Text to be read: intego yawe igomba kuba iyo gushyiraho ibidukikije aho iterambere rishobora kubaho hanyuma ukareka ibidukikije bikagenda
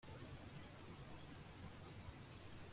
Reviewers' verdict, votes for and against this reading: rejected, 0, 2